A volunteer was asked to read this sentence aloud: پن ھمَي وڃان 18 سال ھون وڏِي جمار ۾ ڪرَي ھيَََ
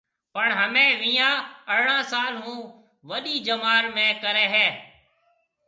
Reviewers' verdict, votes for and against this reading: rejected, 0, 2